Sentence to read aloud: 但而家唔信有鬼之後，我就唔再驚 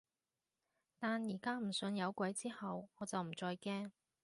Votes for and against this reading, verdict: 2, 0, accepted